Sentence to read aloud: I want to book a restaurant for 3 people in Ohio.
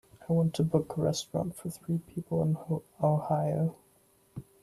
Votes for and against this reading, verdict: 0, 2, rejected